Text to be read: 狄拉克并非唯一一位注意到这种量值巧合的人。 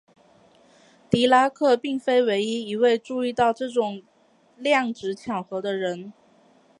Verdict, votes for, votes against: accepted, 2, 0